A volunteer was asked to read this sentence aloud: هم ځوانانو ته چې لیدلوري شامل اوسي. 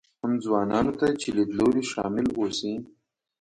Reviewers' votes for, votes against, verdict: 2, 0, accepted